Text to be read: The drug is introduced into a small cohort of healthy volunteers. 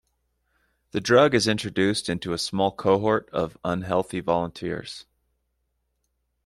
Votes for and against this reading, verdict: 0, 2, rejected